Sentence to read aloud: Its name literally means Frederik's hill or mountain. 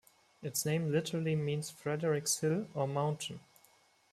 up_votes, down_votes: 2, 0